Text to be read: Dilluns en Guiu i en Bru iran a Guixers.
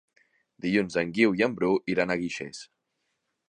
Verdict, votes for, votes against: accepted, 3, 0